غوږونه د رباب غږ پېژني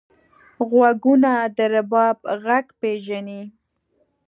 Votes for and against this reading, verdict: 2, 0, accepted